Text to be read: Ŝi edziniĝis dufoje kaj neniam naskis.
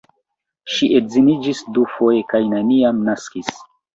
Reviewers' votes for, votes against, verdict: 2, 1, accepted